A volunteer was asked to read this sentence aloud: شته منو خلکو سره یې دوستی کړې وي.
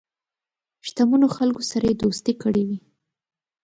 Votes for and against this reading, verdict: 4, 1, accepted